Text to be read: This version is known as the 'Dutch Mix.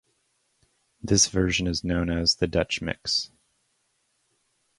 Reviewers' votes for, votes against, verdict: 2, 0, accepted